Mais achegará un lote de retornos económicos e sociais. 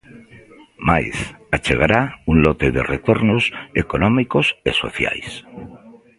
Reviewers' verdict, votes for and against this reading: accepted, 2, 1